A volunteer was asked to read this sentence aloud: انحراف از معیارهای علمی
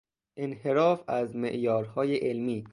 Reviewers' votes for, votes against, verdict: 2, 0, accepted